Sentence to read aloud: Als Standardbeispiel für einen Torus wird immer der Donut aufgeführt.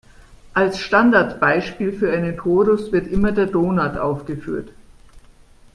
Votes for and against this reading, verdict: 1, 2, rejected